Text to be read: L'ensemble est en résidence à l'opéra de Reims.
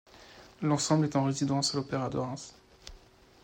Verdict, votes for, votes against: accepted, 2, 0